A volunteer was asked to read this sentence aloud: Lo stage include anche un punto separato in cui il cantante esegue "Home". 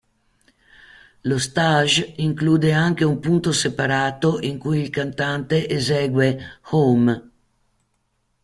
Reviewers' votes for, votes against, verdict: 2, 0, accepted